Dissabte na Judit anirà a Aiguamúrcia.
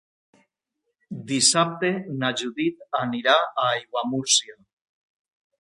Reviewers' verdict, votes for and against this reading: accepted, 2, 0